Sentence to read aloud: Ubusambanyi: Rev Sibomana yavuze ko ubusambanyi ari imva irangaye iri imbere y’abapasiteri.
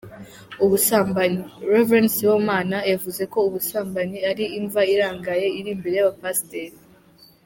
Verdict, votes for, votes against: accepted, 2, 1